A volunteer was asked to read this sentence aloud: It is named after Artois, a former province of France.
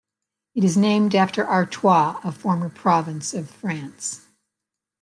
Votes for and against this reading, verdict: 2, 0, accepted